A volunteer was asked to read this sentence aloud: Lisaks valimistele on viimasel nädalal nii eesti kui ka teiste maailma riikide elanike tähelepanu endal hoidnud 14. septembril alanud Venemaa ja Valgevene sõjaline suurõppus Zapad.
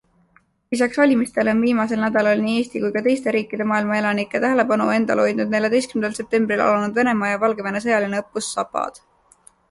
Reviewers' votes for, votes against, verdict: 0, 2, rejected